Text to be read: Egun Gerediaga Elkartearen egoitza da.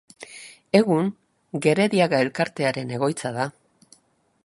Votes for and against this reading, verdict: 2, 0, accepted